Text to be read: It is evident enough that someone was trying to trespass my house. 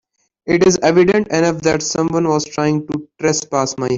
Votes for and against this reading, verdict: 0, 2, rejected